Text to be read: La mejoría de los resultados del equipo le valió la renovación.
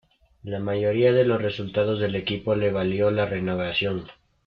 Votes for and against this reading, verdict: 0, 2, rejected